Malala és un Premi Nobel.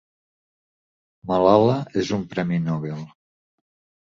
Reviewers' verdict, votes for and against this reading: accepted, 2, 0